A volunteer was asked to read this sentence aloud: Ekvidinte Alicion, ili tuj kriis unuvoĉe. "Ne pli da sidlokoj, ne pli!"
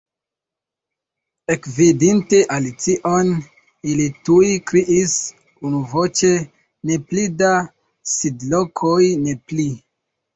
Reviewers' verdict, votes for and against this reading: rejected, 1, 2